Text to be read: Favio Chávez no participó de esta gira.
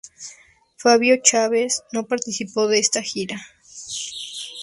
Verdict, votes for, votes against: rejected, 0, 2